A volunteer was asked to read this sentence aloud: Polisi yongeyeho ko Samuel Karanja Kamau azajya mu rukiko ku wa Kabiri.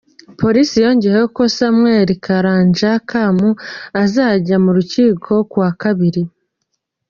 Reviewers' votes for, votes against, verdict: 1, 2, rejected